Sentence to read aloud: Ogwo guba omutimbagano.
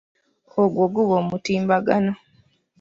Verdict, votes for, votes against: accepted, 2, 0